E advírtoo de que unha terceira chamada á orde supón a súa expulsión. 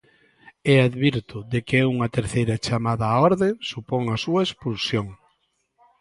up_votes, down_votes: 0, 2